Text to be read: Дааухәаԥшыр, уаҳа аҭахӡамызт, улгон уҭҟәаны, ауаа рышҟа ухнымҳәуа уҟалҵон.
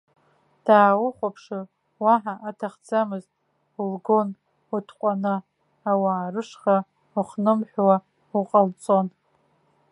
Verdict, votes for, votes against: accepted, 2, 0